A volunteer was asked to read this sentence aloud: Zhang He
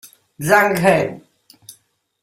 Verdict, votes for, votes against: accepted, 2, 0